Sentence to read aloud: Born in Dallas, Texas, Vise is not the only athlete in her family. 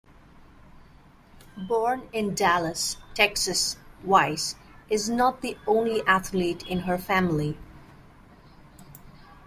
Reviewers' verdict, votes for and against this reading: rejected, 0, 2